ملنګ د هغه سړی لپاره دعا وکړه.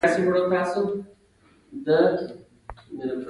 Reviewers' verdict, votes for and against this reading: rejected, 0, 2